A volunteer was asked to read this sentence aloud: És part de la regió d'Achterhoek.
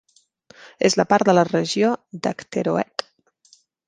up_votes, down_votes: 0, 2